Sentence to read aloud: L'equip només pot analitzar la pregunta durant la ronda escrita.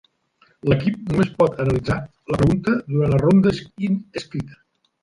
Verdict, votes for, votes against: rejected, 0, 2